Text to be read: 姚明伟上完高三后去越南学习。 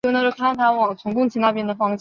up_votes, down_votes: 0, 2